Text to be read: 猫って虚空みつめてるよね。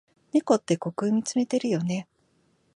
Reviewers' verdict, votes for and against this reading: accepted, 14, 0